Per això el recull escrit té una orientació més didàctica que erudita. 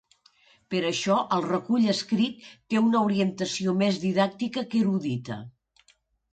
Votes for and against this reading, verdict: 2, 0, accepted